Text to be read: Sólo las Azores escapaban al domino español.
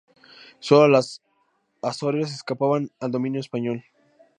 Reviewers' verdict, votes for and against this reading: rejected, 0, 2